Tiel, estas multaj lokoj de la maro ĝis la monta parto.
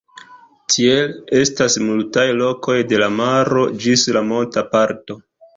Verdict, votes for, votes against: accepted, 2, 0